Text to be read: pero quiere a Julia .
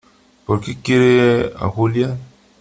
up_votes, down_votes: 0, 3